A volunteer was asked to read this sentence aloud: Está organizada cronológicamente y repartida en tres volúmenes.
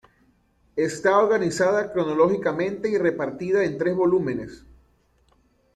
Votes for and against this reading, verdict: 2, 0, accepted